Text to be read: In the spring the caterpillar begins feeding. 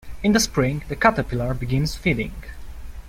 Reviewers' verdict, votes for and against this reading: accepted, 2, 0